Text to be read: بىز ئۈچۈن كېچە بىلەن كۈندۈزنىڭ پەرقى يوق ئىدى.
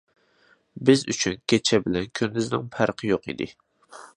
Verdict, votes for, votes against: accepted, 2, 1